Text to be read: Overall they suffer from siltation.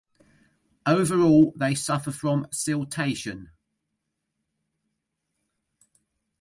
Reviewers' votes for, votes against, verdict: 2, 0, accepted